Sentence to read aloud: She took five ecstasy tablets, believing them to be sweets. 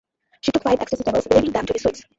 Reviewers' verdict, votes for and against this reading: rejected, 0, 2